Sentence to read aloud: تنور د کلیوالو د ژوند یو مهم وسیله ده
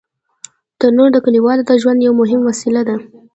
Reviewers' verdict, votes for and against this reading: rejected, 0, 2